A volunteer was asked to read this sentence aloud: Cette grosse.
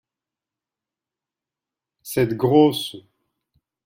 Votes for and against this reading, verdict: 2, 0, accepted